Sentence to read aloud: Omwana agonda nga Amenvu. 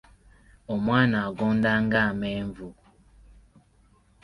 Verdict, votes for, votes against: accepted, 2, 0